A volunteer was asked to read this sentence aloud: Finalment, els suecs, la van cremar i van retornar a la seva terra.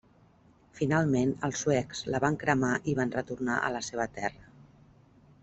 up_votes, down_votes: 3, 0